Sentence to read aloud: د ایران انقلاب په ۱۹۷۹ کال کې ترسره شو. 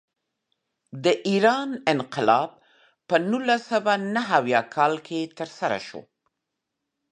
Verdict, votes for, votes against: rejected, 0, 2